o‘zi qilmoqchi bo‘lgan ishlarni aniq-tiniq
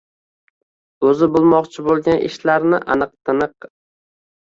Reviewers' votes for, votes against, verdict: 0, 2, rejected